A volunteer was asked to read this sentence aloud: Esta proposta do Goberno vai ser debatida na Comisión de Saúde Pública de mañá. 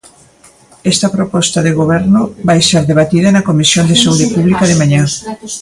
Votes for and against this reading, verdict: 0, 2, rejected